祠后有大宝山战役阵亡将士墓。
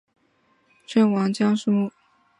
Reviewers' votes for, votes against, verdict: 2, 2, rejected